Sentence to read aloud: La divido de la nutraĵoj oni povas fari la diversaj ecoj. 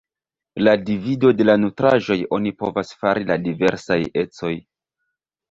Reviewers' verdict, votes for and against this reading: accepted, 2, 1